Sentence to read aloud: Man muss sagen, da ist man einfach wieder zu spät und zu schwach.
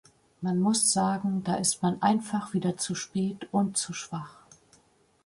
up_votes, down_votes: 2, 0